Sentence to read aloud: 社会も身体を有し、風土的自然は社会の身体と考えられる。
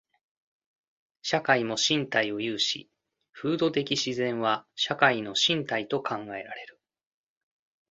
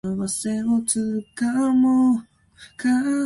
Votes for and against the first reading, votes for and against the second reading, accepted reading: 2, 0, 0, 2, first